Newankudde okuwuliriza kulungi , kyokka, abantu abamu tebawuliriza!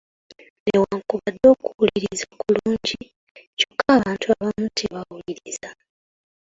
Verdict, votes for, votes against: rejected, 0, 2